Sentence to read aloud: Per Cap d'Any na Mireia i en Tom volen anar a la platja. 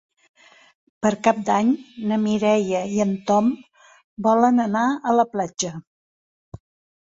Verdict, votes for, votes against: accepted, 3, 0